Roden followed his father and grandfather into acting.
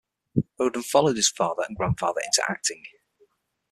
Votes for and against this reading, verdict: 6, 3, accepted